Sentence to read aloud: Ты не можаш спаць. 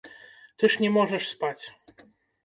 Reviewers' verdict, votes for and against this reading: rejected, 1, 2